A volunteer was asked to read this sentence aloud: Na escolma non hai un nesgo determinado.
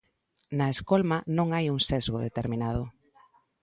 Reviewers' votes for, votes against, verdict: 0, 2, rejected